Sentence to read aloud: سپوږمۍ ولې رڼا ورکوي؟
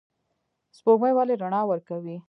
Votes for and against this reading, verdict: 0, 2, rejected